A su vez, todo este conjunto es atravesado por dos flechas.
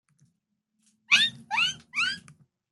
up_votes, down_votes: 0, 2